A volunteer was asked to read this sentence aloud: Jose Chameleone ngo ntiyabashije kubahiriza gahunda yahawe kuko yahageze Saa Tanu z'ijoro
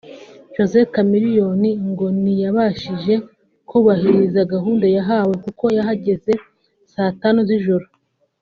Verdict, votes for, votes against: accepted, 2, 0